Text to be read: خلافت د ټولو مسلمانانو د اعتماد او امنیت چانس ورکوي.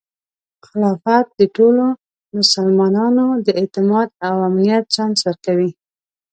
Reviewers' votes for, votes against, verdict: 2, 0, accepted